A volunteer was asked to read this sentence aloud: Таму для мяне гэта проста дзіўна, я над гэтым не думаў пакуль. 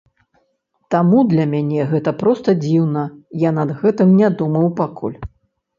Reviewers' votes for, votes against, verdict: 1, 2, rejected